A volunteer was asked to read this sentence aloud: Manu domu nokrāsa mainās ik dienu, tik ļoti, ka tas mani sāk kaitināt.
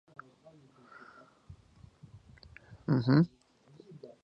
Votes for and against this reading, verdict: 0, 2, rejected